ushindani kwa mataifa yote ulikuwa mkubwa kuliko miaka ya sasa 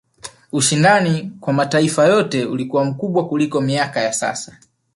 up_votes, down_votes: 2, 1